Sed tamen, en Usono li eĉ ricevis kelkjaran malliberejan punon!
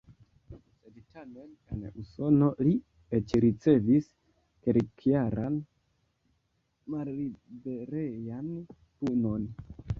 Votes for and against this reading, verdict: 0, 2, rejected